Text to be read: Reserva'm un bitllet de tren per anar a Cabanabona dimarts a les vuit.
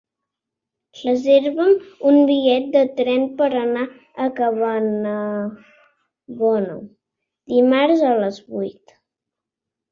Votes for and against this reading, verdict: 0, 2, rejected